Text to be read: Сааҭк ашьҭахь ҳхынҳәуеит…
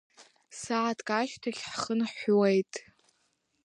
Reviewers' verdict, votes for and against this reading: accepted, 2, 0